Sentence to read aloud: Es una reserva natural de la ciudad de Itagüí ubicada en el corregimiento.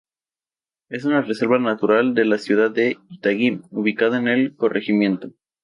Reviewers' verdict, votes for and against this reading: rejected, 0, 2